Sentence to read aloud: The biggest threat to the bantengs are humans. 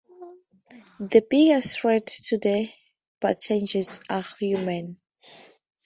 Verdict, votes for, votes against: accepted, 2, 0